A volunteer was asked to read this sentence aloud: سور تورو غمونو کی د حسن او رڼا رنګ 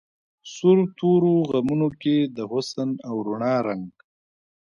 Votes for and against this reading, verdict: 2, 0, accepted